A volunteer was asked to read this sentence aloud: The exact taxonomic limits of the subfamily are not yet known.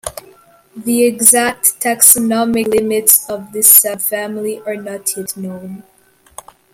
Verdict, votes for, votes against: accepted, 2, 1